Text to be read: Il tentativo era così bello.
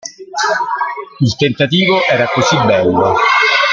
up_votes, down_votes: 1, 2